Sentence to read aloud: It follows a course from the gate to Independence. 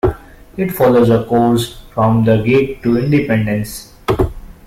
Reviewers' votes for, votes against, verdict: 2, 0, accepted